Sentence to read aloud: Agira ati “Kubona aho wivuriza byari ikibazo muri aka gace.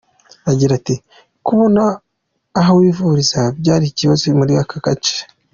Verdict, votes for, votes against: accepted, 2, 1